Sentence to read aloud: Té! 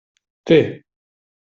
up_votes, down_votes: 2, 0